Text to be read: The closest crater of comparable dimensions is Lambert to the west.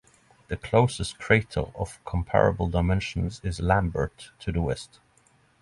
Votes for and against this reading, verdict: 3, 0, accepted